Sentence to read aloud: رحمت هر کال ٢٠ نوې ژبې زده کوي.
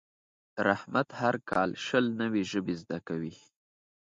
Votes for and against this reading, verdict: 0, 2, rejected